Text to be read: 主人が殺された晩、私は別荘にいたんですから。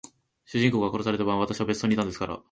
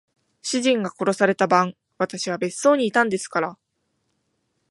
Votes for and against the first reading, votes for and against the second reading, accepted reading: 0, 2, 2, 0, second